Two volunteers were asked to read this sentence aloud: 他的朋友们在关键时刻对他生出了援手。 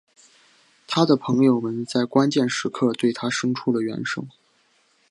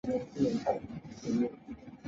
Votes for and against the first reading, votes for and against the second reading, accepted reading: 2, 0, 0, 2, first